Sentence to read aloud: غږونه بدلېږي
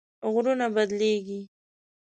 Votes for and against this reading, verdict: 1, 2, rejected